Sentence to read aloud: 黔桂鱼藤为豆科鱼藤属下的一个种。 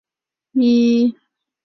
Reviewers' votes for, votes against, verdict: 1, 3, rejected